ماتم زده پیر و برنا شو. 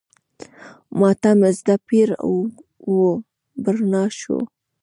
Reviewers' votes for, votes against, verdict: 1, 2, rejected